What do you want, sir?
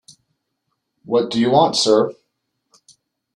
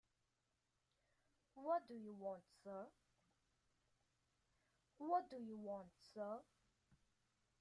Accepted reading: first